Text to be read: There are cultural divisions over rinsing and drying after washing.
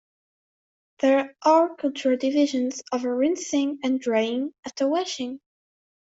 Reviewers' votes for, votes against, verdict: 2, 1, accepted